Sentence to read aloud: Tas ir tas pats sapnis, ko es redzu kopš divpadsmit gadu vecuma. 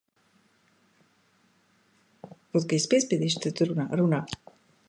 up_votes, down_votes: 0, 2